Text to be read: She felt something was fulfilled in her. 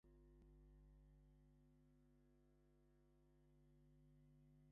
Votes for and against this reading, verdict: 0, 2, rejected